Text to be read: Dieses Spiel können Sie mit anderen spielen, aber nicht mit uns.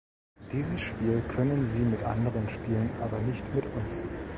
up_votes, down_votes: 2, 0